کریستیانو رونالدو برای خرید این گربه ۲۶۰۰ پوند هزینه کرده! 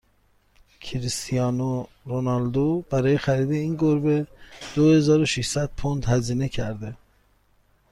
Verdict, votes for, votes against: rejected, 0, 2